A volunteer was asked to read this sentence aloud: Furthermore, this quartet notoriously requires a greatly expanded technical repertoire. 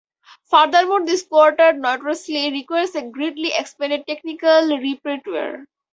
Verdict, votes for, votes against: rejected, 0, 4